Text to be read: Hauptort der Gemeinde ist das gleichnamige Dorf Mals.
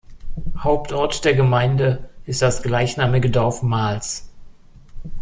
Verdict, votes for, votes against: accepted, 2, 0